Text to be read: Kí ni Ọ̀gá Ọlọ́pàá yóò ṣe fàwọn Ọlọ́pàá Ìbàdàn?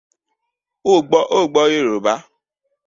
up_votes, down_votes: 0, 2